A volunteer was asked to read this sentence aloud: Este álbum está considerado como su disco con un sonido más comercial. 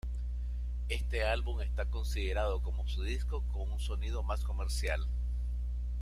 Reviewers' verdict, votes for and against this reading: accepted, 2, 0